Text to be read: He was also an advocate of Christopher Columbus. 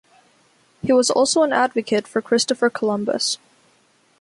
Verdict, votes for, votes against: rejected, 1, 2